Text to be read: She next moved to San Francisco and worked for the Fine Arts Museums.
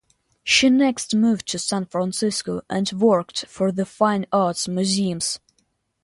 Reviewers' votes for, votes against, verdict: 2, 0, accepted